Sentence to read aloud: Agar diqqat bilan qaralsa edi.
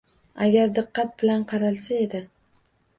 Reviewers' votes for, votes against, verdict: 2, 0, accepted